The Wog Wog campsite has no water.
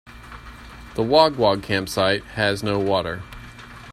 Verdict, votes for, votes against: accepted, 2, 0